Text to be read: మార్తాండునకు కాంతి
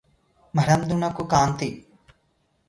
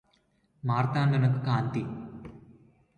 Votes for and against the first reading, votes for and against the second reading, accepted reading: 0, 2, 2, 0, second